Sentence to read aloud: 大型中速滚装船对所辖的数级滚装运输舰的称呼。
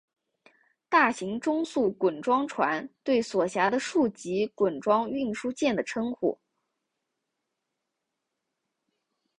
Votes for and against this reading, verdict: 3, 0, accepted